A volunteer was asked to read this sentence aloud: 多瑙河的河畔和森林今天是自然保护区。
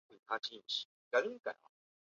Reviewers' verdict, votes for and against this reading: rejected, 0, 2